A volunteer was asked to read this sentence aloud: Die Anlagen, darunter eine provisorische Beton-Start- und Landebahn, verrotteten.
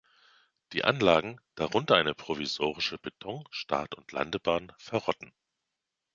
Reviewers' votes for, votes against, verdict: 0, 3, rejected